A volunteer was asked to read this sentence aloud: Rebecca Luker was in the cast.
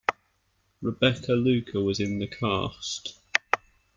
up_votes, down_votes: 2, 0